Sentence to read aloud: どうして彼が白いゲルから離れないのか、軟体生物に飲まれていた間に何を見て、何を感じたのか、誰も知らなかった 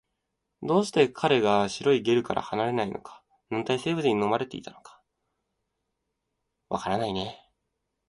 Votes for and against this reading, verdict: 1, 2, rejected